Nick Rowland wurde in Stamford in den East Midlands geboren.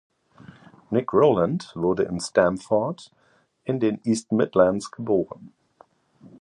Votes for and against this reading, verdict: 2, 1, accepted